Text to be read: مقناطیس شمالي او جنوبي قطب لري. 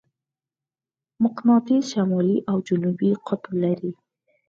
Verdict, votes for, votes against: accepted, 4, 0